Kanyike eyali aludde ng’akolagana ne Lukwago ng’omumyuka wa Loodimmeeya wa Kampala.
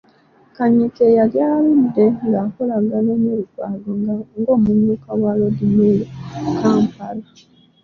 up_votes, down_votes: 1, 2